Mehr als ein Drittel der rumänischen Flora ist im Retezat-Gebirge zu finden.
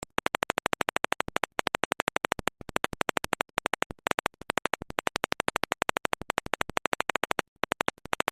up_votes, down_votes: 0, 2